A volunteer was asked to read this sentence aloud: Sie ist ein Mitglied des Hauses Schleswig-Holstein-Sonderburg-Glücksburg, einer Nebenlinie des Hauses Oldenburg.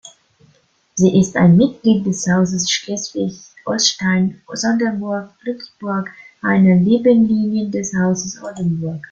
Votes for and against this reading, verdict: 2, 0, accepted